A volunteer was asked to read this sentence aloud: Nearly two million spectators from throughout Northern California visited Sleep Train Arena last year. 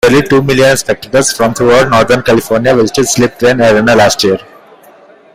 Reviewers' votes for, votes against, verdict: 1, 2, rejected